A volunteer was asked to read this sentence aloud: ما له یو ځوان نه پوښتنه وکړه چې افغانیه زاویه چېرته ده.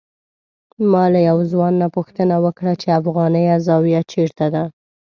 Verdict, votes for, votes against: accepted, 2, 0